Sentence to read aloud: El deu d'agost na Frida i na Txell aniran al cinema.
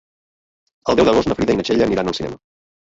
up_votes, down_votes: 0, 2